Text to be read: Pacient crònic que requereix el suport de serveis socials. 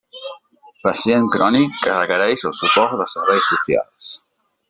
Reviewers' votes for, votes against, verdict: 2, 0, accepted